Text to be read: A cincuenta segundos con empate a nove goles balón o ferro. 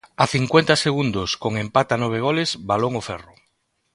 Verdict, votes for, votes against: accepted, 2, 0